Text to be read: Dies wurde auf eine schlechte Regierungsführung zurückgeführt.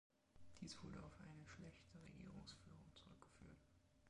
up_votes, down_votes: 2, 1